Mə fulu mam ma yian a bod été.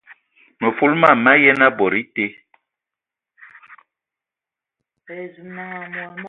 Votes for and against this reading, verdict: 0, 2, rejected